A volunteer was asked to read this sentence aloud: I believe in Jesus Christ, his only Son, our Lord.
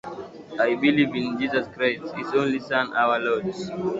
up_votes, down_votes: 7, 2